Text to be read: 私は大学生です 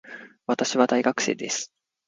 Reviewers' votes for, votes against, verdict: 2, 0, accepted